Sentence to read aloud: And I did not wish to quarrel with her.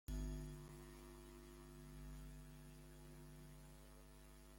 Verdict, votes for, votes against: rejected, 0, 2